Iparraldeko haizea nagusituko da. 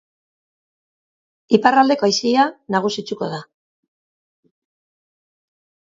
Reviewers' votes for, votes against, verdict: 0, 2, rejected